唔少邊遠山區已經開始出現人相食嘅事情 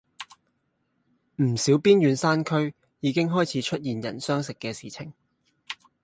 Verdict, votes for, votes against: accepted, 2, 0